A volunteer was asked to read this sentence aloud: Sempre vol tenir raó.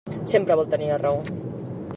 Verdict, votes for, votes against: rejected, 0, 2